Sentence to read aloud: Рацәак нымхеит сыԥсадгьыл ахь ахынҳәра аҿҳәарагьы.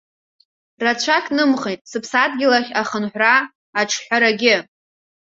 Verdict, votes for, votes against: accepted, 2, 1